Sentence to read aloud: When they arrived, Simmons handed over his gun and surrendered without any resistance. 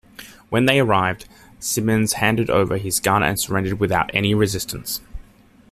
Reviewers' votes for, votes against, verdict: 2, 0, accepted